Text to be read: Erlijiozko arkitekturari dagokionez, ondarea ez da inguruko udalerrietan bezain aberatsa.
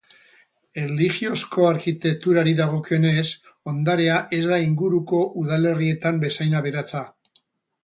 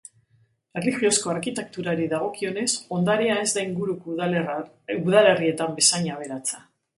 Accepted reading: first